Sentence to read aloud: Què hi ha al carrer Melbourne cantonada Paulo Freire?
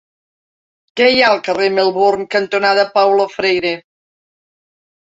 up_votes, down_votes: 2, 0